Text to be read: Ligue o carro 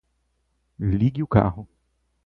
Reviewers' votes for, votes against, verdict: 4, 0, accepted